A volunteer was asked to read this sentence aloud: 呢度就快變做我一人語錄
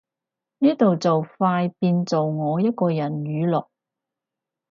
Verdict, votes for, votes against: rejected, 2, 2